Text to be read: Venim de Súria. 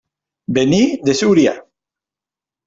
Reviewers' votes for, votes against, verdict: 1, 2, rejected